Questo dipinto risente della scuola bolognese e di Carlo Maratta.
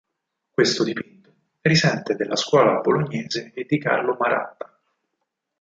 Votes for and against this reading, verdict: 0, 4, rejected